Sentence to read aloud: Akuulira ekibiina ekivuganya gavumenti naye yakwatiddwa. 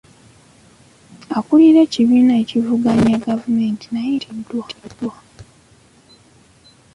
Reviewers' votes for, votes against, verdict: 0, 2, rejected